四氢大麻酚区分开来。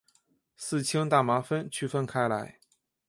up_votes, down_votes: 1, 2